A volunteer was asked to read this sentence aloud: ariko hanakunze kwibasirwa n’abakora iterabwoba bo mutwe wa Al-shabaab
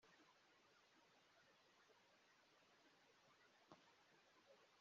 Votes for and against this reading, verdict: 0, 5, rejected